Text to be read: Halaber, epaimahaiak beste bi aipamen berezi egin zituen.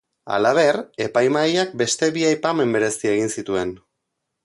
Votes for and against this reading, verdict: 2, 0, accepted